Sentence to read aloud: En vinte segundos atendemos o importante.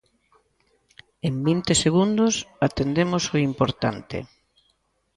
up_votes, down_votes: 2, 0